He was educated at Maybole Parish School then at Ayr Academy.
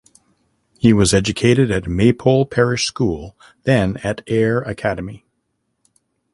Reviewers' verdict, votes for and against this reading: rejected, 0, 2